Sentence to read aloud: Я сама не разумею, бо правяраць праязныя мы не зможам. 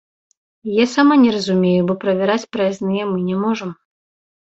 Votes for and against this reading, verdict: 1, 2, rejected